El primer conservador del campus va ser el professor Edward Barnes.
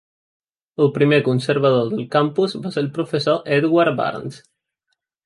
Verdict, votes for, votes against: accepted, 2, 0